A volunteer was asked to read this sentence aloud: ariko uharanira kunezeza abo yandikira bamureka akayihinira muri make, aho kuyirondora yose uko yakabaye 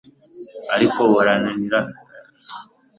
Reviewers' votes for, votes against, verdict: 0, 2, rejected